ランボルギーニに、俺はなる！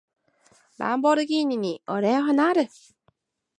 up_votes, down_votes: 2, 0